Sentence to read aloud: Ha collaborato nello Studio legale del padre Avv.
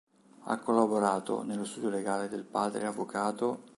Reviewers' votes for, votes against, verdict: 2, 1, accepted